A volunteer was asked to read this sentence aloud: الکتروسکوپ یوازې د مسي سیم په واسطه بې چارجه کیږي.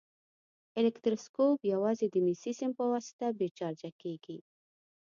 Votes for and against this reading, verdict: 2, 0, accepted